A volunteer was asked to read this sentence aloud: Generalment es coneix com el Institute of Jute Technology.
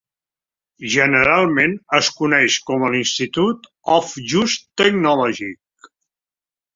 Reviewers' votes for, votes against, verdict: 4, 3, accepted